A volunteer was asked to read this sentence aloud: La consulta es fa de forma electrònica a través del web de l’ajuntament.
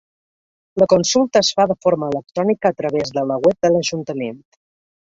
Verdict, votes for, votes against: rejected, 1, 2